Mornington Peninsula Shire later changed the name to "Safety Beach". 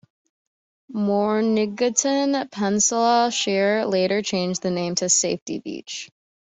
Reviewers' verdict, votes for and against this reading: rejected, 1, 2